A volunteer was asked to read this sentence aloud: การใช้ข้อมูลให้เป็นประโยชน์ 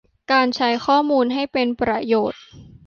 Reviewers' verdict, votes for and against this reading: accepted, 2, 0